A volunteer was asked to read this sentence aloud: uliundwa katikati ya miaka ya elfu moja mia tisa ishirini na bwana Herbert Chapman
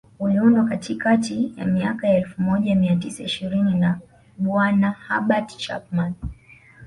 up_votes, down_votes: 2, 0